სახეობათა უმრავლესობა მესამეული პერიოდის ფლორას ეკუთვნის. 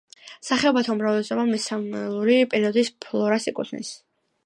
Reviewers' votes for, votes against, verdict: 2, 1, accepted